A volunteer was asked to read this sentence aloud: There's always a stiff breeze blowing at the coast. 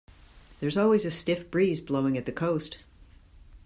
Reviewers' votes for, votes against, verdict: 2, 0, accepted